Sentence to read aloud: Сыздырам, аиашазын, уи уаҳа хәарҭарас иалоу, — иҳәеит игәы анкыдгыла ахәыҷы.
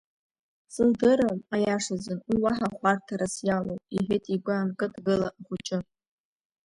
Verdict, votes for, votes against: rejected, 0, 2